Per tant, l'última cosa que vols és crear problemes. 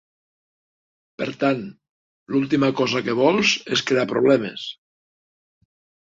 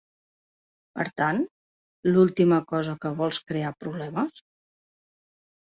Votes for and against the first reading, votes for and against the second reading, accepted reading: 2, 0, 0, 3, first